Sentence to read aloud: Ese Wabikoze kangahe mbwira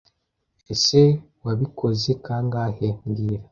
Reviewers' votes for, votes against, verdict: 2, 0, accepted